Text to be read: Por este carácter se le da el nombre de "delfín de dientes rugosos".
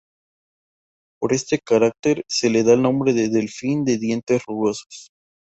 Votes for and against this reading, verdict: 4, 0, accepted